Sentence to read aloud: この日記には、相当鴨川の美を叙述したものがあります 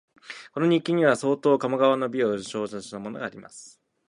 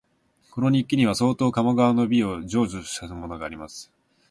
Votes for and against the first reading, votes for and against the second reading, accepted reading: 1, 2, 2, 0, second